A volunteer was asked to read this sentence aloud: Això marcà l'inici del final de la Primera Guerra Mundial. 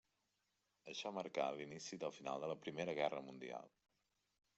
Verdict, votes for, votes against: accepted, 3, 1